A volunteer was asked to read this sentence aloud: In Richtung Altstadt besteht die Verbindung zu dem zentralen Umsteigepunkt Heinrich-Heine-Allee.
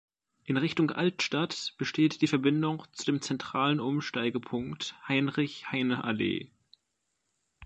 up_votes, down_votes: 2, 1